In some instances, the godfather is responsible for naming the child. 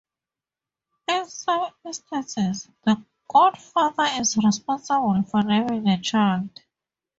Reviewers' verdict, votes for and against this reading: rejected, 0, 2